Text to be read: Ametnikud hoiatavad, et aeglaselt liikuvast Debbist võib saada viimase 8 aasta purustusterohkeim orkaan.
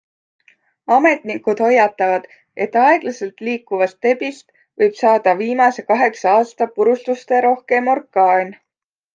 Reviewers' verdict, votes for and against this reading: rejected, 0, 2